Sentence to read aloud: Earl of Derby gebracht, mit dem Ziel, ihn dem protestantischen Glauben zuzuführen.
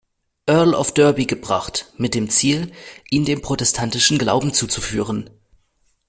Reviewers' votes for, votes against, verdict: 2, 0, accepted